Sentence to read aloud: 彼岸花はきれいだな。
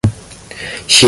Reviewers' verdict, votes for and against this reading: rejected, 0, 2